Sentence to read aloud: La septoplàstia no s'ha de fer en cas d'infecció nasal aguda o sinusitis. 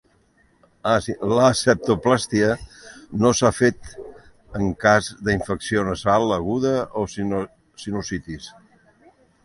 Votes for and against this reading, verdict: 1, 2, rejected